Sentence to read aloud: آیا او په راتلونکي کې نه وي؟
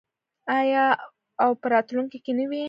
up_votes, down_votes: 1, 2